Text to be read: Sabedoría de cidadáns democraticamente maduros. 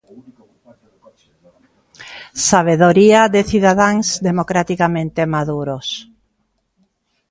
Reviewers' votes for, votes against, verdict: 0, 2, rejected